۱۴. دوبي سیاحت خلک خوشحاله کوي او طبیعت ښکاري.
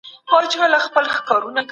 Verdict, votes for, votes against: rejected, 0, 2